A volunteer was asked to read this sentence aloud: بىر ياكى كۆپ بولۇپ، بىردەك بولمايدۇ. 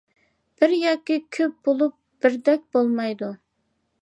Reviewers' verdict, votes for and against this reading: accepted, 2, 0